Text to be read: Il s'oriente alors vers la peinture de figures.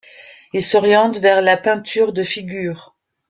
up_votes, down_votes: 0, 2